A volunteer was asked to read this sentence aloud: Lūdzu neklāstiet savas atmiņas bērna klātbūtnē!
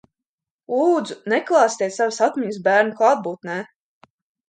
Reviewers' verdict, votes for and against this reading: accepted, 2, 0